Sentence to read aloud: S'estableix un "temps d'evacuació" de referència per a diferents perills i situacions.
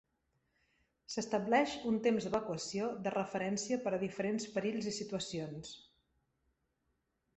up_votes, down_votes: 3, 0